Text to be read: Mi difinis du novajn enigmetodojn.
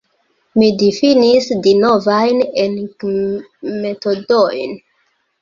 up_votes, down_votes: 1, 2